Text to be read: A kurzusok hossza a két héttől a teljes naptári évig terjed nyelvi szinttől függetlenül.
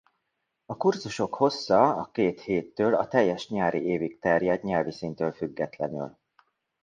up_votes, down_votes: 0, 2